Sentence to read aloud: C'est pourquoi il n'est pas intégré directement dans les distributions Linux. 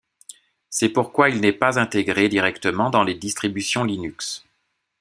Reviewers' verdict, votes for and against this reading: accepted, 2, 0